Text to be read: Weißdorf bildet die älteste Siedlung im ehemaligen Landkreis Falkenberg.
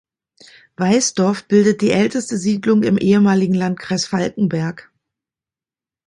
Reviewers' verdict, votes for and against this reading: accepted, 2, 0